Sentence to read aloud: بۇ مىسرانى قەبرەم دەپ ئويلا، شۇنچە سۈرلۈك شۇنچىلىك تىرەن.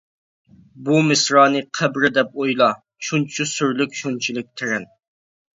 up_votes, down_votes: 0, 2